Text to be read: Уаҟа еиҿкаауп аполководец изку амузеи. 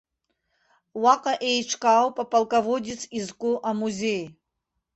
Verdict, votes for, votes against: accepted, 2, 0